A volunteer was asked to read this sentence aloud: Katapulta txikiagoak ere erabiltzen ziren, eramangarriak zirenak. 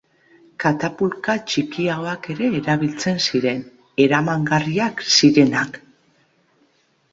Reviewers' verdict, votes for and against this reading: rejected, 1, 2